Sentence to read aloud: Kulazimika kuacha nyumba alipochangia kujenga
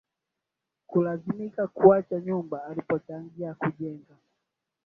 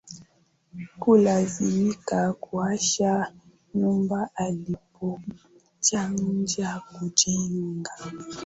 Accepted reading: first